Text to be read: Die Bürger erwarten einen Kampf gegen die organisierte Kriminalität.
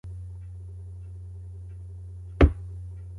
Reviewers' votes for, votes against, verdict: 0, 2, rejected